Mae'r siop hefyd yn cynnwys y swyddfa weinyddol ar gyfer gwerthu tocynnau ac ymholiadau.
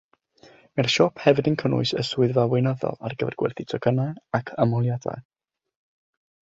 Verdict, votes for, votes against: accepted, 6, 0